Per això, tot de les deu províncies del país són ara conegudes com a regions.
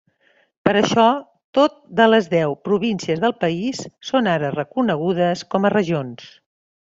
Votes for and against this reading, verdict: 0, 2, rejected